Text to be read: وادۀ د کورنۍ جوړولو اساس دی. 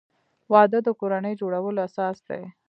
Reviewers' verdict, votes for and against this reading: accepted, 2, 0